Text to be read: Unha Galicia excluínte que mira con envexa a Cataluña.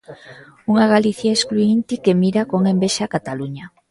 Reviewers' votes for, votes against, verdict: 2, 1, accepted